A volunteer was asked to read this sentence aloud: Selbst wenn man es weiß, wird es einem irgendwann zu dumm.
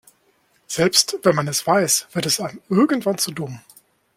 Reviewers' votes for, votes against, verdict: 2, 0, accepted